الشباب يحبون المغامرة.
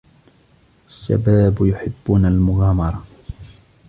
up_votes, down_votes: 2, 1